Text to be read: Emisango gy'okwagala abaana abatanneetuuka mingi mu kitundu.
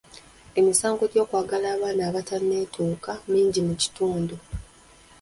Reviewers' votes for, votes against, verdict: 0, 2, rejected